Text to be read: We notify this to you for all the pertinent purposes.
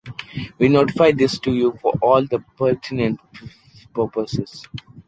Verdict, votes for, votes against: rejected, 1, 2